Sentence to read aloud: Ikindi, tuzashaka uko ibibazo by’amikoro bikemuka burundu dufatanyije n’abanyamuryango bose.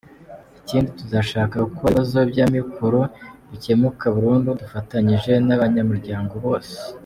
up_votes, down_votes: 2, 0